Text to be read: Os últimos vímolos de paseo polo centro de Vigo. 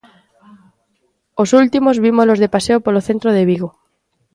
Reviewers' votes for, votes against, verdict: 2, 0, accepted